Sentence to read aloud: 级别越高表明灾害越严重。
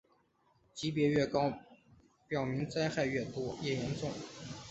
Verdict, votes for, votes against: accepted, 2, 1